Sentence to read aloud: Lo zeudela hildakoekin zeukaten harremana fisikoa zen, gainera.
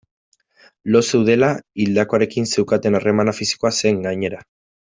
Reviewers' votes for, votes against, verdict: 1, 2, rejected